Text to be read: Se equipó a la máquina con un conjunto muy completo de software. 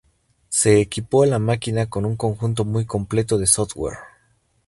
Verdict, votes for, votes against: accepted, 2, 0